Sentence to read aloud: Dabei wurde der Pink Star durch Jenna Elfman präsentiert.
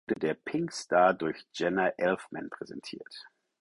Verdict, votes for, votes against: rejected, 0, 4